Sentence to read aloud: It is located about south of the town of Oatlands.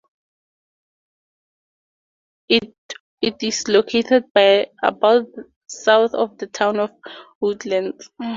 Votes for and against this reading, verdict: 0, 4, rejected